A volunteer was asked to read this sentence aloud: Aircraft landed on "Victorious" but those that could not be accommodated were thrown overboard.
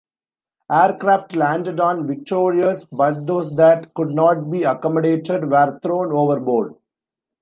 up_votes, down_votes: 2, 0